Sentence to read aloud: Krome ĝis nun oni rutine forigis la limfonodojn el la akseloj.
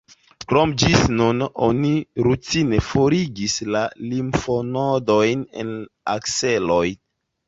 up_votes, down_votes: 1, 2